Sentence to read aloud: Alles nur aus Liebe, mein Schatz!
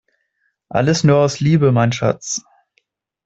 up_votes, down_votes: 2, 0